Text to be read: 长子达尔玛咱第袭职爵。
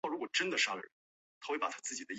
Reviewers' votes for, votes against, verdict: 0, 2, rejected